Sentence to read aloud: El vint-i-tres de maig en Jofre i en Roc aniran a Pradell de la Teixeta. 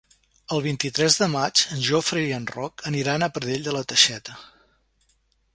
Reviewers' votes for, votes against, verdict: 3, 0, accepted